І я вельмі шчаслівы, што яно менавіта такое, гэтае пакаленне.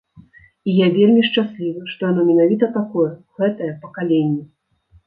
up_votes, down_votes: 2, 0